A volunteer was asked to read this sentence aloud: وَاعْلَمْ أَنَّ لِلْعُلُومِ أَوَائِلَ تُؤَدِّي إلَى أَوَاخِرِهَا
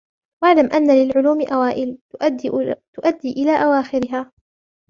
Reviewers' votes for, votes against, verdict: 1, 2, rejected